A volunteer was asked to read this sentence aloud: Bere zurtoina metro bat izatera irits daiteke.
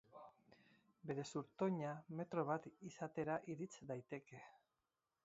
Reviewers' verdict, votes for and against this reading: accepted, 2, 0